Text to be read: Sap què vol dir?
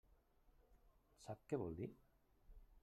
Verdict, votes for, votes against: rejected, 0, 2